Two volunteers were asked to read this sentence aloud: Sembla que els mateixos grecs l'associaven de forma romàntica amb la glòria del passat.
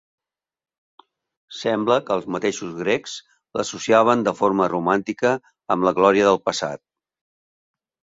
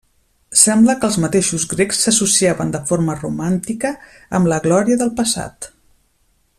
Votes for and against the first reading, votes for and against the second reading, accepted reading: 4, 0, 1, 2, first